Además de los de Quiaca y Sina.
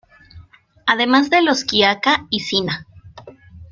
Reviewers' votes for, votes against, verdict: 2, 0, accepted